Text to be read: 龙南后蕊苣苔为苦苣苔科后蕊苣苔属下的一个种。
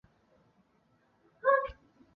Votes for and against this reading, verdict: 0, 2, rejected